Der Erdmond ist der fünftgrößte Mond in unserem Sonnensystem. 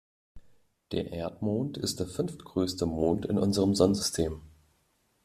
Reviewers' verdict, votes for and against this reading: accepted, 2, 0